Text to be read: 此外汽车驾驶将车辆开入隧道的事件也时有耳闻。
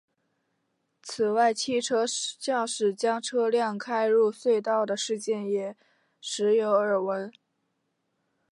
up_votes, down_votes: 5, 1